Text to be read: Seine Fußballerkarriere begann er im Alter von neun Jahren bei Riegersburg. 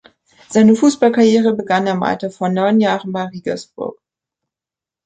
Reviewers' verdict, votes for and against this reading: rejected, 0, 2